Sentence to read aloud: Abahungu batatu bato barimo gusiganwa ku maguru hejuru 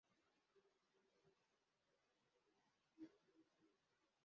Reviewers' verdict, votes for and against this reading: rejected, 0, 2